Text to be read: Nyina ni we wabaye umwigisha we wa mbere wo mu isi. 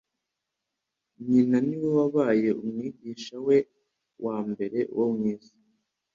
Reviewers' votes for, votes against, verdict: 3, 0, accepted